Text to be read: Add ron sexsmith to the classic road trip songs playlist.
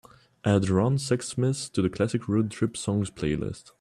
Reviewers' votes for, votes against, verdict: 2, 0, accepted